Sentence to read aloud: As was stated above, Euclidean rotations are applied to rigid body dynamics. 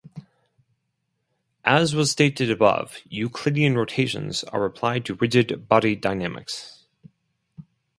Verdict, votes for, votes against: accepted, 4, 0